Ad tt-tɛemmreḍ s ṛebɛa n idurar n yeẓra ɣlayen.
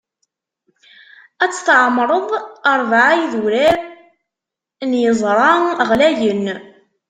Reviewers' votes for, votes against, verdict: 0, 2, rejected